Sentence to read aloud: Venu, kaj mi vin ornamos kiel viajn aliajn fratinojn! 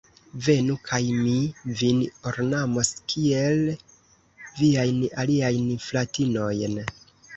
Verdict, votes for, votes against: rejected, 1, 2